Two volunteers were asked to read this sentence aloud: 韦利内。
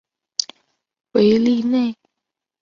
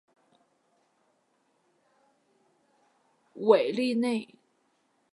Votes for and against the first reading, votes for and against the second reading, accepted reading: 3, 0, 2, 2, first